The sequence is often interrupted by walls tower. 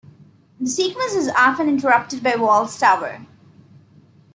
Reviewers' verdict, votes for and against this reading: accepted, 2, 0